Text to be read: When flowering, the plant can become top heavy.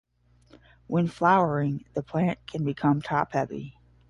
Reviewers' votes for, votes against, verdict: 10, 0, accepted